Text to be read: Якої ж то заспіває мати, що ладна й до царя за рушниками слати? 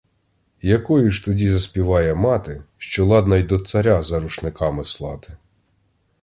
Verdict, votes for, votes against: rejected, 0, 2